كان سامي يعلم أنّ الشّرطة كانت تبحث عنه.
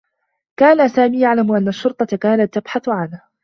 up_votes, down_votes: 1, 2